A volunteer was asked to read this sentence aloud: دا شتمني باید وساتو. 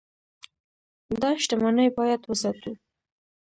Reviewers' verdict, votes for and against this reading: rejected, 1, 2